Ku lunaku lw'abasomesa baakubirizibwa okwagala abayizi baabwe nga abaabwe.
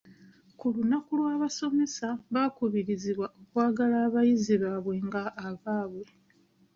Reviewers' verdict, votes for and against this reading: accepted, 2, 0